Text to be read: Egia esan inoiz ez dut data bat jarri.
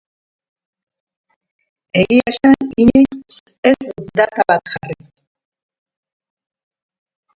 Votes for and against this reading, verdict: 0, 2, rejected